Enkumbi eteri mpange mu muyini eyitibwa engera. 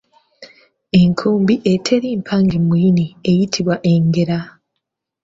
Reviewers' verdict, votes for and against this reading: accepted, 2, 0